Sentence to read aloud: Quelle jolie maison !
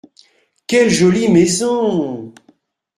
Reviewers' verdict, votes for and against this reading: accepted, 2, 0